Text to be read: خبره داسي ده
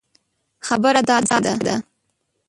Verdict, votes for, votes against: rejected, 0, 2